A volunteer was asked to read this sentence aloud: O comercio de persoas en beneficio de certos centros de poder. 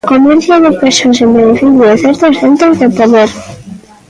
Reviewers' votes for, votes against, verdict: 1, 2, rejected